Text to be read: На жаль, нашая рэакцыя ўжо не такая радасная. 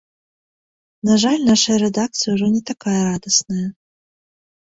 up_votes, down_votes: 0, 2